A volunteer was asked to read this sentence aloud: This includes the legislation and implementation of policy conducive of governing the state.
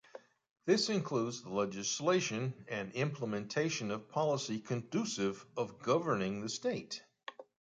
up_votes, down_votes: 2, 0